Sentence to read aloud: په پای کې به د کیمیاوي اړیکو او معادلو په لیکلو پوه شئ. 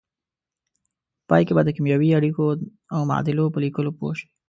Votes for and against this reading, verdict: 2, 0, accepted